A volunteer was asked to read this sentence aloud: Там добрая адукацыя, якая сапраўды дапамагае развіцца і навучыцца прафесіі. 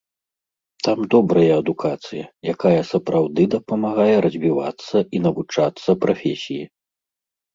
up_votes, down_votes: 0, 3